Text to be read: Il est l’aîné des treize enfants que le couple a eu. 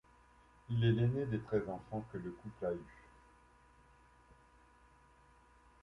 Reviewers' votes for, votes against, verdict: 2, 0, accepted